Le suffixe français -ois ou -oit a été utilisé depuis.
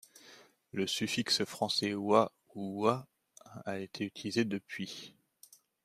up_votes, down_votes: 2, 0